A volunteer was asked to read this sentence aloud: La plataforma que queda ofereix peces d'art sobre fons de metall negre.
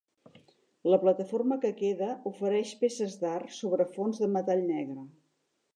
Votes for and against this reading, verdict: 2, 0, accepted